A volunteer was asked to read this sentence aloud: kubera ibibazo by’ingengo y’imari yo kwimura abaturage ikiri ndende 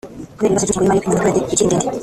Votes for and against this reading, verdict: 0, 2, rejected